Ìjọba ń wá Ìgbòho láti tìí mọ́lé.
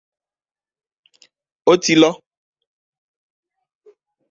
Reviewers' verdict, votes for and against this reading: rejected, 0, 2